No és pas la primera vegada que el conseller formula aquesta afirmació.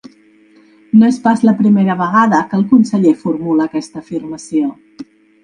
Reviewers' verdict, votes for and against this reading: accepted, 3, 0